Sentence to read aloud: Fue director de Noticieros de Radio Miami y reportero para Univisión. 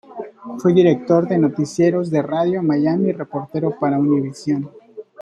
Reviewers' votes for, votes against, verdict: 2, 0, accepted